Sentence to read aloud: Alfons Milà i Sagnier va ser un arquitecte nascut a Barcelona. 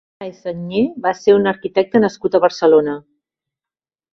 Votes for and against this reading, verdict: 0, 2, rejected